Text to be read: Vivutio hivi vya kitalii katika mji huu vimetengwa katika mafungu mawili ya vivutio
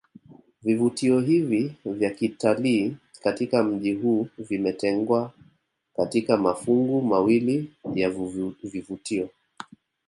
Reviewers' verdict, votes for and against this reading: rejected, 0, 2